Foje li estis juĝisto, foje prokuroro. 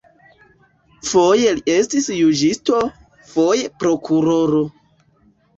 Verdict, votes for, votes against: accepted, 2, 0